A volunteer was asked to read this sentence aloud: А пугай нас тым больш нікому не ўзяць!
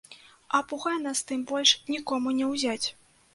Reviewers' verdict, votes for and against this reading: rejected, 1, 2